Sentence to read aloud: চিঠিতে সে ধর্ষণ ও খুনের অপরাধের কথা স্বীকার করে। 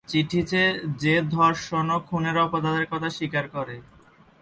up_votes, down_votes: 4, 6